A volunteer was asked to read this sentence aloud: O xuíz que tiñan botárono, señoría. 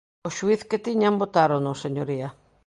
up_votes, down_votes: 2, 1